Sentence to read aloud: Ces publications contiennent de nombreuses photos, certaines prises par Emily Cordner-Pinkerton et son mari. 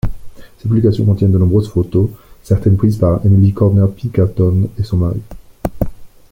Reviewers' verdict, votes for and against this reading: accepted, 2, 1